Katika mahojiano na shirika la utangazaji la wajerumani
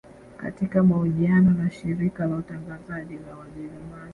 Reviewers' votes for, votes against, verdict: 2, 1, accepted